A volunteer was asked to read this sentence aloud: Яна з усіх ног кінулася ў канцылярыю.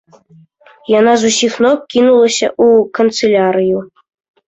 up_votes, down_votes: 2, 0